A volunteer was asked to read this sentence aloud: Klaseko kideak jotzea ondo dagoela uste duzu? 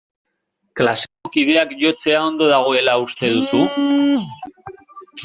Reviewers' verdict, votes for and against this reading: rejected, 1, 2